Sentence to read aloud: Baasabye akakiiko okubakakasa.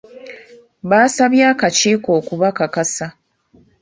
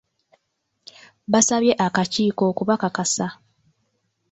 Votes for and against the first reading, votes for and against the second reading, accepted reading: 2, 0, 1, 2, first